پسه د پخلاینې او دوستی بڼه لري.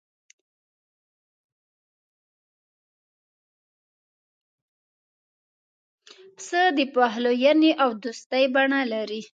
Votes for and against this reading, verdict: 1, 2, rejected